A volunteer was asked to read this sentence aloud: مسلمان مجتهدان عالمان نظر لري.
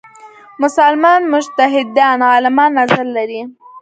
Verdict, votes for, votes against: rejected, 2, 3